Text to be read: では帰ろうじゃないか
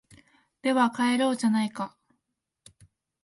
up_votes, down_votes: 2, 0